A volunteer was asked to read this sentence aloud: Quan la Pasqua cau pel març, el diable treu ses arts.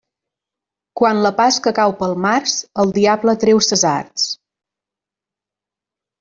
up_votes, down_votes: 1, 2